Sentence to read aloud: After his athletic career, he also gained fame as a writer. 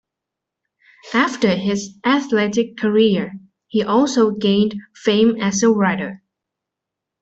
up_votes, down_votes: 2, 0